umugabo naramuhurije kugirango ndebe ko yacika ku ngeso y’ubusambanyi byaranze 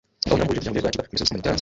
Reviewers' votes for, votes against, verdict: 1, 2, rejected